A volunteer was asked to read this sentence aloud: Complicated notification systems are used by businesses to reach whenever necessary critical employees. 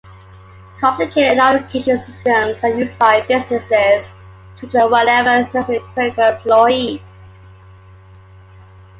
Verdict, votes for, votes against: rejected, 1, 2